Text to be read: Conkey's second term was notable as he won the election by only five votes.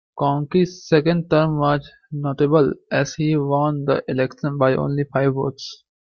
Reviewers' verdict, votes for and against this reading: rejected, 0, 2